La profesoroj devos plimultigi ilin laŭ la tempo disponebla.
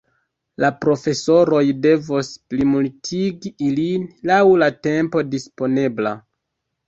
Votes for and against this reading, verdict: 2, 1, accepted